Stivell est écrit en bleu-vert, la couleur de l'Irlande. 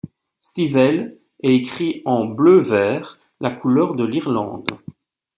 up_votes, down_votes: 2, 0